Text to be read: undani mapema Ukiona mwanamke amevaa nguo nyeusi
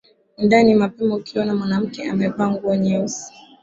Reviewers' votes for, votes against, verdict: 1, 3, rejected